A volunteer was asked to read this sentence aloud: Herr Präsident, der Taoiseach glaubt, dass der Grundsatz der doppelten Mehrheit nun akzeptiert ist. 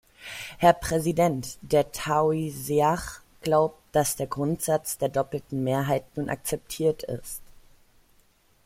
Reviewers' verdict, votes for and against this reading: accepted, 2, 0